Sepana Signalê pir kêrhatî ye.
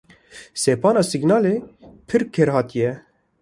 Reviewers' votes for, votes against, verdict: 2, 0, accepted